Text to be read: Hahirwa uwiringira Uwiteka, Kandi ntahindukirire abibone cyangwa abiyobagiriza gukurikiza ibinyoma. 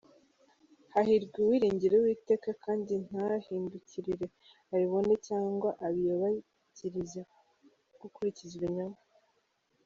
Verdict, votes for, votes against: rejected, 0, 2